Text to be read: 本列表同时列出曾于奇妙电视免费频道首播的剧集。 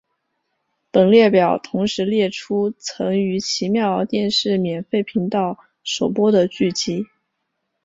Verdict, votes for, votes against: accepted, 3, 0